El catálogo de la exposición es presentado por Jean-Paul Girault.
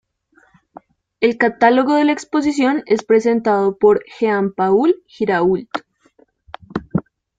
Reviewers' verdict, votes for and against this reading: accepted, 2, 0